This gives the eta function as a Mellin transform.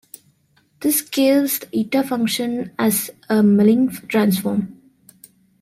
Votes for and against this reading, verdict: 1, 2, rejected